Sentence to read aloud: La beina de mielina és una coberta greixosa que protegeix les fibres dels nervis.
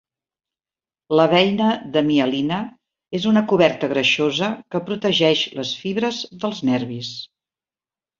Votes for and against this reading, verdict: 4, 0, accepted